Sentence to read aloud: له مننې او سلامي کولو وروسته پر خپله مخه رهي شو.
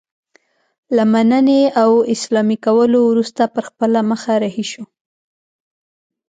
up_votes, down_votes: 0, 2